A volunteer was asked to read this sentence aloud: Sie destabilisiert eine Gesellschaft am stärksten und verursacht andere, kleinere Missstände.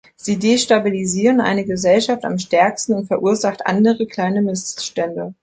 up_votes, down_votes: 1, 2